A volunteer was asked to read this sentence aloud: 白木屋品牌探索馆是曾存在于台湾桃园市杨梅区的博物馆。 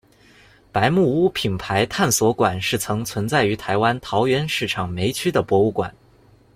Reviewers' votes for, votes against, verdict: 0, 2, rejected